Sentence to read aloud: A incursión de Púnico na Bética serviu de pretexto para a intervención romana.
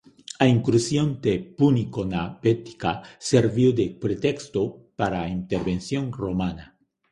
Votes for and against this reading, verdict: 0, 2, rejected